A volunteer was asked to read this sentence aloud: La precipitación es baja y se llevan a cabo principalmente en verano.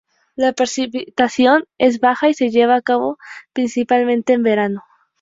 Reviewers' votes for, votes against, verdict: 0, 2, rejected